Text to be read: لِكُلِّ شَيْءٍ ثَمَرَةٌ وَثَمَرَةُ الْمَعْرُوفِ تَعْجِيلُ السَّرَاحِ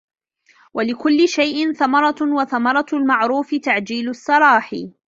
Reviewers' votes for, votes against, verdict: 0, 2, rejected